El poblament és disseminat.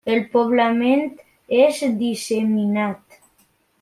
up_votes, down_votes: 1, 2